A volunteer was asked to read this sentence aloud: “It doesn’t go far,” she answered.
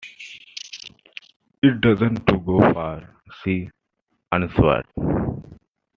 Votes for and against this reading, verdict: 2, 0, accepted